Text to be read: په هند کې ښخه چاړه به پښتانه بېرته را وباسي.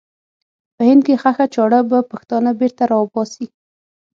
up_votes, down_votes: 6, 0